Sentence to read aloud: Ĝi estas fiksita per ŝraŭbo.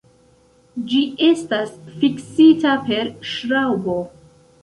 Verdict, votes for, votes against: accepted, 2, 0